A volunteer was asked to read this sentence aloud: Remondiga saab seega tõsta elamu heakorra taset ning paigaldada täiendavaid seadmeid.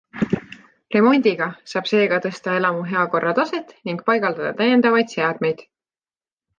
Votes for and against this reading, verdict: 2, 0, accepted